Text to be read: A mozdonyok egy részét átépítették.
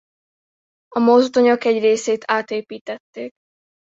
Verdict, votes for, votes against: accepted, 2, 0